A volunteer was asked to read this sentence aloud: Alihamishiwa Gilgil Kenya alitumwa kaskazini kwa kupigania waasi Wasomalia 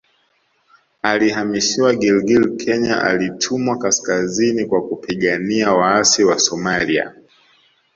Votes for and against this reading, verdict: 1, 2, rejected